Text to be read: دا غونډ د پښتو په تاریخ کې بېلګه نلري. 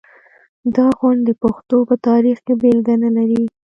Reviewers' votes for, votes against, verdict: 1, 2, rejected